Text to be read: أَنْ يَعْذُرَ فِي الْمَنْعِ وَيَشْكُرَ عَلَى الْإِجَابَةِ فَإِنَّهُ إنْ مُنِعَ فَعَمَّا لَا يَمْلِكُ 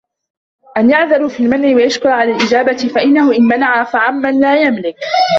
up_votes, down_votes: 0, 2